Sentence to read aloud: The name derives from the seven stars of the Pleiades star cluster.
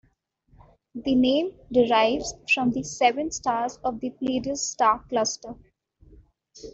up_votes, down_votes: 2, 1